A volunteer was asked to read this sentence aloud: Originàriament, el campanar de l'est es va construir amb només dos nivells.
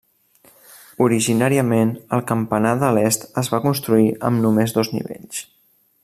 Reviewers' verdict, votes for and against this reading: accepted, 3, 0